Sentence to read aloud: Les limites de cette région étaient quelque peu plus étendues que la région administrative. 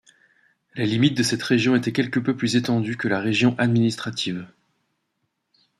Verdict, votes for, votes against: accepted, 2, 0